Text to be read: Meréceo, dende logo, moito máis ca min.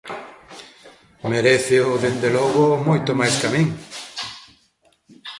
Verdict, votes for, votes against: accepted, 2, 0